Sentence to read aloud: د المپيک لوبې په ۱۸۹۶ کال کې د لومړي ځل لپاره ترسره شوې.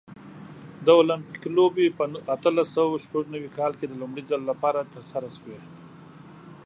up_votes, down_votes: 0, 2